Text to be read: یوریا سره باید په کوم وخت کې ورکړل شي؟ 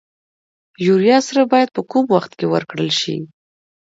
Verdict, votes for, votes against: accepted, 2, 0